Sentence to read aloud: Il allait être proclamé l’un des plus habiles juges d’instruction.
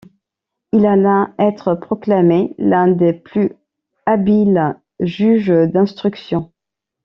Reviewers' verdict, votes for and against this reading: rejected, 0, 2